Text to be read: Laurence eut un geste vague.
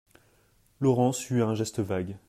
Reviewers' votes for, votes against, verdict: 2, 0, accepted